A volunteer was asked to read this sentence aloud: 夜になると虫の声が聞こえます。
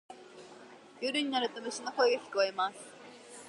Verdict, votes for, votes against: accepted, 2, 0